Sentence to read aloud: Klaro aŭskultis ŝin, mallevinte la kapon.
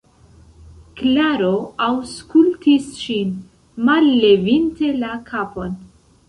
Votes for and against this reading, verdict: 0, 2, rejected